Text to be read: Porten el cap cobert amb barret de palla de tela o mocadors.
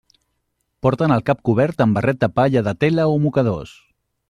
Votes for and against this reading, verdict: 2, 0, accepted